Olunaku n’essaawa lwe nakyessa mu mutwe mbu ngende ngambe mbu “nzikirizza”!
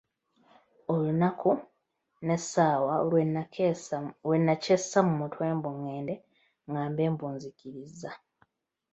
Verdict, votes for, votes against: accepted, 2, 0